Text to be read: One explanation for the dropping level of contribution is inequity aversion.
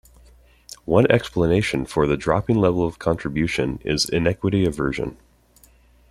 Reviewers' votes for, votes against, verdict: 2, 0, accepted